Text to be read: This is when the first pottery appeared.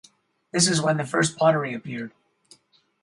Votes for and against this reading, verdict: 2, 2, rejected